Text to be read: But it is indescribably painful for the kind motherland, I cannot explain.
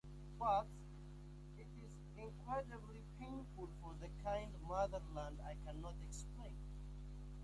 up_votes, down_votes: 0, 2